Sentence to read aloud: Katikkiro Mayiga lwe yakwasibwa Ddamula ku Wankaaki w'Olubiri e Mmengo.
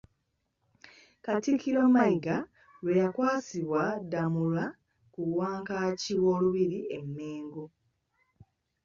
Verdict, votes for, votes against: accepted, 2, 0